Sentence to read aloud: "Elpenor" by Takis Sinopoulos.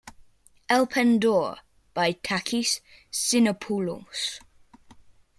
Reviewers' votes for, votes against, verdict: 0, 2, rejected